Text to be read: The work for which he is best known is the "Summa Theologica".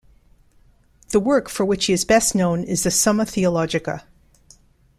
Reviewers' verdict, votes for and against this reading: accepted, 2, 0